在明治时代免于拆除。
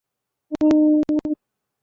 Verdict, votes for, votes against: rejected, 1, 2